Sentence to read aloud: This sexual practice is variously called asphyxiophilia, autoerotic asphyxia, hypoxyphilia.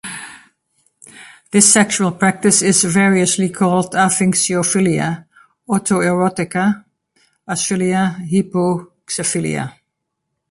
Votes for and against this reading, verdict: 1, 2, rejected